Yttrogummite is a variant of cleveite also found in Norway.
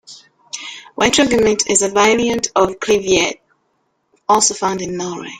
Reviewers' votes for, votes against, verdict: 1, 2, rejected